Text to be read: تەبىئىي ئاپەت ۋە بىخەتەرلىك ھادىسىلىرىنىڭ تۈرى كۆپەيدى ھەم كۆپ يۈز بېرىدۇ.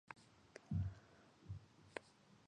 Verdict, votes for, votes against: rejected, 0, 2